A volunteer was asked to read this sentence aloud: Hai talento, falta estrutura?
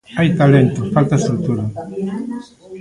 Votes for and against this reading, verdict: 0, 2, rejected